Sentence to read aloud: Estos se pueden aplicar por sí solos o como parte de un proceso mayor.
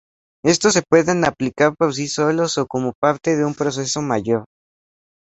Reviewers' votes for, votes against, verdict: 2, 0, accepted